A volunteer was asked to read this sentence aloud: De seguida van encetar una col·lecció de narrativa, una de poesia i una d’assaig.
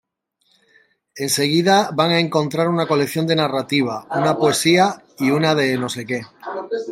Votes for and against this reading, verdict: 0, 2, rejected